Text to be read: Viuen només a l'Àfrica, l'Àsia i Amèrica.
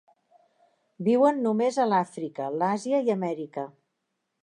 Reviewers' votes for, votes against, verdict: 3, 0, accepted